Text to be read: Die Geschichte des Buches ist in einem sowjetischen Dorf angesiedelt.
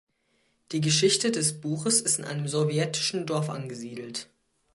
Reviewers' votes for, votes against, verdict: 2, 0, accepted